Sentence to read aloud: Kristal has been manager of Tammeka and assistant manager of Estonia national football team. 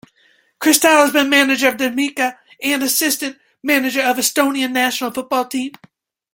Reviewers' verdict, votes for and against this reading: rejected, 2, 3